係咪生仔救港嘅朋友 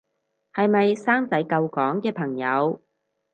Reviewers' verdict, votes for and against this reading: accepted, 4, 0